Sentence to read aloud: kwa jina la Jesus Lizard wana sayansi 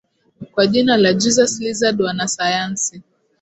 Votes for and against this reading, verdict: 2, 1, accepted